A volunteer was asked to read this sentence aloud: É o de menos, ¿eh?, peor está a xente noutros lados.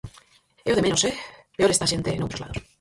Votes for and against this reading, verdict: 0, 4, rejected